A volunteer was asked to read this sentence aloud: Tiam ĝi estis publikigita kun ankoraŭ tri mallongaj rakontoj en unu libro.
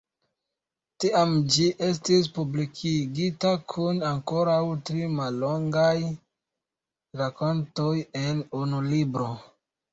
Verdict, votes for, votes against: rejected, 1, 2